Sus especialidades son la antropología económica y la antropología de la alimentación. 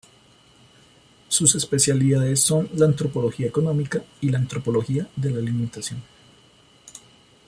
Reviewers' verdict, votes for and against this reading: accepted, 2, 0